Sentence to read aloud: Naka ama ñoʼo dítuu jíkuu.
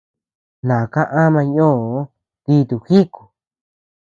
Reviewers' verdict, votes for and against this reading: rejected, 1, 2